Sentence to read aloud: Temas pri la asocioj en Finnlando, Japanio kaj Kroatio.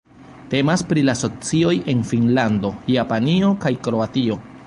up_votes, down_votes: 1, 2